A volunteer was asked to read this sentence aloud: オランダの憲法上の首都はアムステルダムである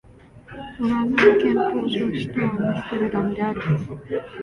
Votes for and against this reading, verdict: 1, 2, rejected